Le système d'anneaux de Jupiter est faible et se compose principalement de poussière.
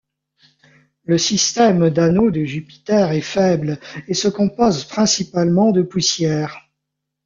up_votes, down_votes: 2, 1